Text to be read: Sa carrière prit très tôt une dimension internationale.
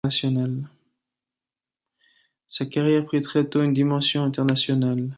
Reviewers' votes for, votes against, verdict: 1, 2, rejected